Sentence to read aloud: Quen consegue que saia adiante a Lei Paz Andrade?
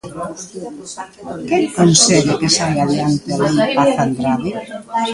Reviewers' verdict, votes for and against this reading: accepted, 2, 0